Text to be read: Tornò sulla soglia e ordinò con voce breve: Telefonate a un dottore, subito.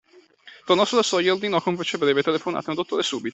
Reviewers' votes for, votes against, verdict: 0, 2, rejected